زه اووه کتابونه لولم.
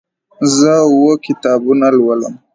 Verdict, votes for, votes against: rejected, 0, 2